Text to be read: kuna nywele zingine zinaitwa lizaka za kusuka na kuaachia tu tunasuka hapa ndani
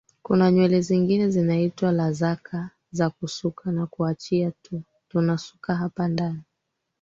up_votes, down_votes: 2, 3